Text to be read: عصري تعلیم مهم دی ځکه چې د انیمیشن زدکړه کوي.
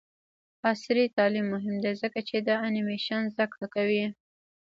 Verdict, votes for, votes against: rejected, 1, 2